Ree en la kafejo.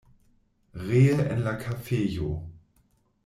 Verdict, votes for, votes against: rejected, 1, 2